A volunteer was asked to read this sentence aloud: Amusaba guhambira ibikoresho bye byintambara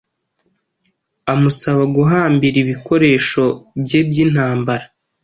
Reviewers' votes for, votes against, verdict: 2, 0, accepted